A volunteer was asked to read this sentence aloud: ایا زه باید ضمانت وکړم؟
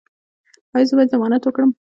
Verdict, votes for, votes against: accepted, 2, 0